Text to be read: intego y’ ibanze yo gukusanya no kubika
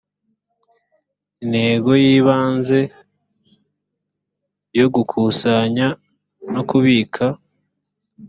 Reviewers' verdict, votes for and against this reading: accepted, 2, 0